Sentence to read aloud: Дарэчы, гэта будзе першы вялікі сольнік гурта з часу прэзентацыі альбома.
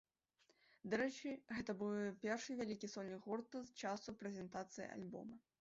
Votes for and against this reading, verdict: 1, 2, rejected